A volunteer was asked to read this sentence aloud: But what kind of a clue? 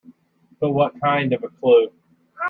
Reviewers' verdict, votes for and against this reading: accepted, 2, 0